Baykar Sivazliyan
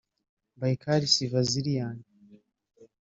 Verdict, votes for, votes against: accepted, 2, 1